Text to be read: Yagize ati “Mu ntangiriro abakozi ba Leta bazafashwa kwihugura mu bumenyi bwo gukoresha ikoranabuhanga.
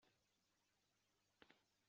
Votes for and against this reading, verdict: 0, 2, rejected